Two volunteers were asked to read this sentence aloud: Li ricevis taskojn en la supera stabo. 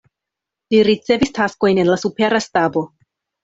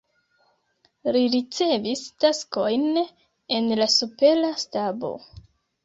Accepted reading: first